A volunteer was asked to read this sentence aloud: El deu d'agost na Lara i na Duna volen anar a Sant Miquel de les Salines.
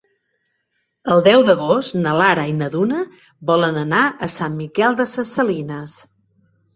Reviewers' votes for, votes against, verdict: 4, 6, rejected